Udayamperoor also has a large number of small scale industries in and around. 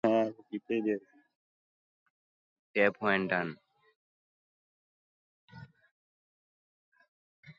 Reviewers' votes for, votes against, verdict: 0, 2, rejected